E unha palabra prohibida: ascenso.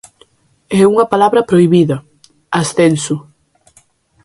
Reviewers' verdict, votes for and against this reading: rejected, 1, 2